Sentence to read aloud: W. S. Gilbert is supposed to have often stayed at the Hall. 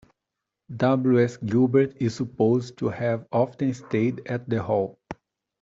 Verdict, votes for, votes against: accepted, 2, 0